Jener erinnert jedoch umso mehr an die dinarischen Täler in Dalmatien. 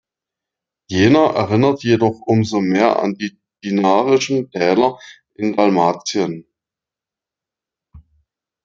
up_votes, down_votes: 1, 2